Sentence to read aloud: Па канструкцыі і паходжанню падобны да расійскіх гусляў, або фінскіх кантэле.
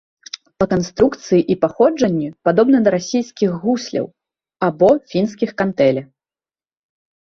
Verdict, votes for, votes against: accepted, 2, 0